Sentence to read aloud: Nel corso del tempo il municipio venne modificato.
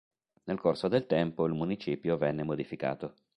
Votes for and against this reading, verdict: 3, 0, accepted